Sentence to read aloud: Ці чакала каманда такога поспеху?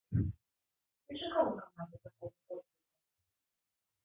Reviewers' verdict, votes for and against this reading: rejected, 0, 2